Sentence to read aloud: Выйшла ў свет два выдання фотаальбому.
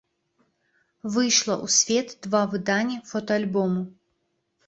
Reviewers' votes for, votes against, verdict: 2, 0, accepted